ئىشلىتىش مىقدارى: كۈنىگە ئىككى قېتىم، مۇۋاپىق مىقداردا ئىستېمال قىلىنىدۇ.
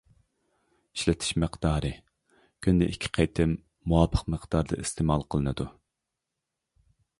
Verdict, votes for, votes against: rejected, 1, 2